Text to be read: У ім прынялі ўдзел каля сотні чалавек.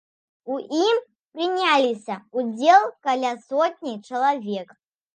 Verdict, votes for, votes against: rejected, 0, 2